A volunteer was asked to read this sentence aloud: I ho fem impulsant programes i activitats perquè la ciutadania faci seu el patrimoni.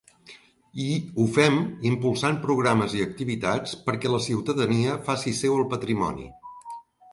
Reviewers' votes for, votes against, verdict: 1, 2, rejected